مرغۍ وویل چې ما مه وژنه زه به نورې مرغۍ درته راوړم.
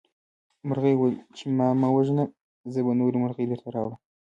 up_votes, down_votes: 2, 1